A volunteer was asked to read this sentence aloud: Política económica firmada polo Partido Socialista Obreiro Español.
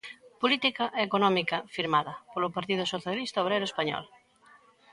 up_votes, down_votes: 2, 0